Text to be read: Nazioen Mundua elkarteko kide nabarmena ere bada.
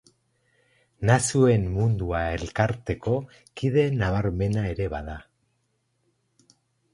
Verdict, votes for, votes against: rejected, 0, 4